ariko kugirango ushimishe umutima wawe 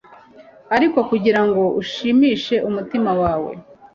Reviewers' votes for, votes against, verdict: 2, 0, accepted